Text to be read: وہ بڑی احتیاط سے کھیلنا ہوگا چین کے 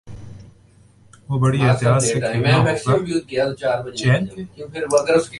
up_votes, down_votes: 0, 2